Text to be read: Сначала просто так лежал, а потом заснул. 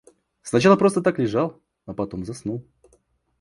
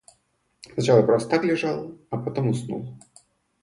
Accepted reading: first